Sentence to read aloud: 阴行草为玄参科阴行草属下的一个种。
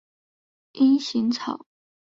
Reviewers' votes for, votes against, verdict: 0, 3, rejected